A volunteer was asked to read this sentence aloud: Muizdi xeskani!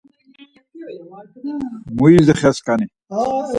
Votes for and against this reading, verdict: 2, 4, rejected